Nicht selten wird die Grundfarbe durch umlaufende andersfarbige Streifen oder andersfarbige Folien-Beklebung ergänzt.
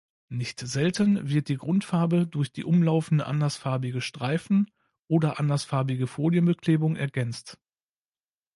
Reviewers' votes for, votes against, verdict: 0, 2, rejected